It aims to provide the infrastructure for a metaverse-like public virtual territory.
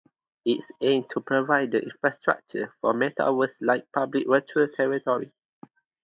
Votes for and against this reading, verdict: 6, 0, accepted